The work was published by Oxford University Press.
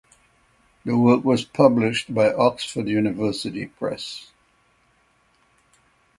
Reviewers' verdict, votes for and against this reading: accepted, 6, 0